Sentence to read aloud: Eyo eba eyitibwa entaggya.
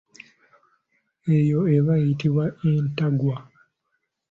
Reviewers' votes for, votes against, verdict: 2, 3, rejected